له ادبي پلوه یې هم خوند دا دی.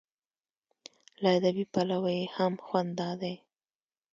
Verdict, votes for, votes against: accepted, 2, 0